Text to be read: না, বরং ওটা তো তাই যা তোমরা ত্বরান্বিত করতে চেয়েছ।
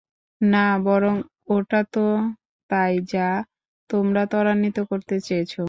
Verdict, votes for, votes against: rejected, 0, 2